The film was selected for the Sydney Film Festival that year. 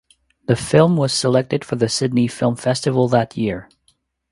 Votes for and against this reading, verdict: 2, 0, accepted